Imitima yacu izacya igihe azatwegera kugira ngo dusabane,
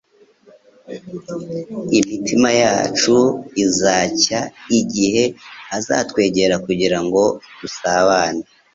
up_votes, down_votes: 3, 0